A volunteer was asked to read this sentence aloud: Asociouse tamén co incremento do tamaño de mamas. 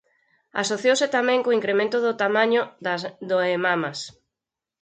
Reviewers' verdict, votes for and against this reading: rejected, 0, 4